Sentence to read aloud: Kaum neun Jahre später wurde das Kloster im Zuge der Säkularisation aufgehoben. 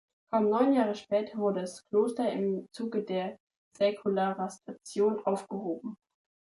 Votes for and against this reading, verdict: 0, 3, rejected